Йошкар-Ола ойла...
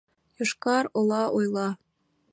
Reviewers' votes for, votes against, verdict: 2, 0, accepted